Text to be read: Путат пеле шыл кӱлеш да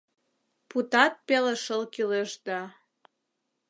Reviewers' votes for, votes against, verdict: 2, 0, accepted